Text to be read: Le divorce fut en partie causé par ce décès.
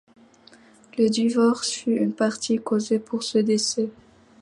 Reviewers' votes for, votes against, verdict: 2, 0, accepted